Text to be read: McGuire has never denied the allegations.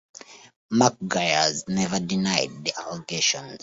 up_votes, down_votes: 1, 2